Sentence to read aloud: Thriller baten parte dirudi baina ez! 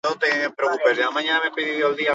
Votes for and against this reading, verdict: 0, 4, rejected